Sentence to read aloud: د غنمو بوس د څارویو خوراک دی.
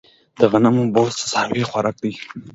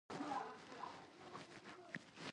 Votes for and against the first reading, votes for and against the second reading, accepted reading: 2, 0, 1, 2, first